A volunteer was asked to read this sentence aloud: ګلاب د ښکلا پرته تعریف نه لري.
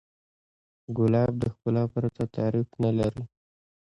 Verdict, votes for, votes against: accepted, 2, 0